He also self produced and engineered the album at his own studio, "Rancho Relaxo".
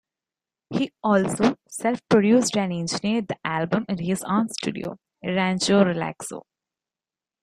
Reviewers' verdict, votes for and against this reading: accepted, 2, 0